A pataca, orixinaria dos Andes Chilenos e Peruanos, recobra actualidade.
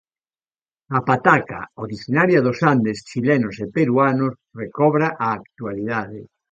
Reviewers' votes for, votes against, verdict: 0, 2, rejected